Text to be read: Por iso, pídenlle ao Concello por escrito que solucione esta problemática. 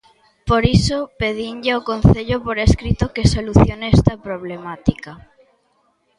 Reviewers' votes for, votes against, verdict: 0, 2, rejected